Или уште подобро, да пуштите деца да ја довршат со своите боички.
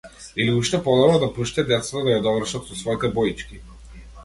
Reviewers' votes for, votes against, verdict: 0, 2, rejected